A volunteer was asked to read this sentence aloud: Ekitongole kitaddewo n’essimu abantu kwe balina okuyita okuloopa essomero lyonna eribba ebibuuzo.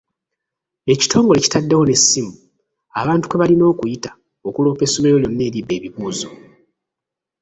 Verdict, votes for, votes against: rejected, 1, 2